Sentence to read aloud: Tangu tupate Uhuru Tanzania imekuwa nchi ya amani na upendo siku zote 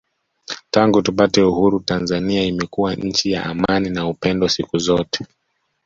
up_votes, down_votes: 2, 0